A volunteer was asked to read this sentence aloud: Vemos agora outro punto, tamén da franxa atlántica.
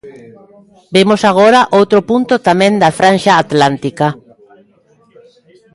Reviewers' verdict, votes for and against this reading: rejected, 0, 2